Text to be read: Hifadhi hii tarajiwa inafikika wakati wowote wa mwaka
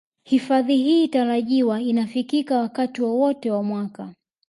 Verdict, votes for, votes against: accepted, 2, 0